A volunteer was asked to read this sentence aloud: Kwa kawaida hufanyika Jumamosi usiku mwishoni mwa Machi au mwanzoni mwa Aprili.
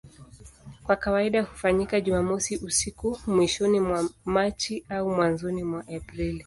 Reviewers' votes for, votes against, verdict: 2, 0, accepted